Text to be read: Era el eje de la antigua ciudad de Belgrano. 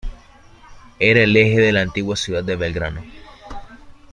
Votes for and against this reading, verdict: 2, 0, accepted